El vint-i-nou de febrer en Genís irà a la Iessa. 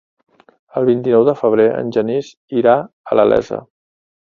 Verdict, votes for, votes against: accepted, 2, 0